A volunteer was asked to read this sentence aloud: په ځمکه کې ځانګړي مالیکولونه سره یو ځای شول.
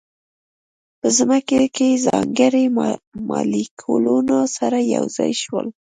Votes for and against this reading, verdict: 2, 0, accepted